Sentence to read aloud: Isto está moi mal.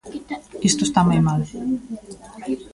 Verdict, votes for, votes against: rejected, 1, 2